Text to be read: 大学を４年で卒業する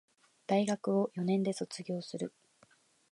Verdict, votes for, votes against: rejected, 0, 2